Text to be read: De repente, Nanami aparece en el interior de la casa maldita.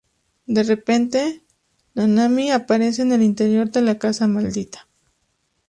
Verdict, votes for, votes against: accepted, 2, 0